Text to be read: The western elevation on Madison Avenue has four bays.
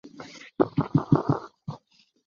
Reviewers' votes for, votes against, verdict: 0, 2, rejected